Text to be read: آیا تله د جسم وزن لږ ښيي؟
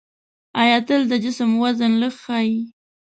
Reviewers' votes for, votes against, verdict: 1, 2, rejected